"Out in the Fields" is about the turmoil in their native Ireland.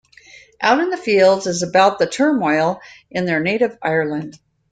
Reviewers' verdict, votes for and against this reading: accepted, 2, 0